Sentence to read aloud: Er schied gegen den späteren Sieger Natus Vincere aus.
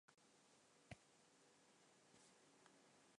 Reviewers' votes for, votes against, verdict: 0, 2, rejected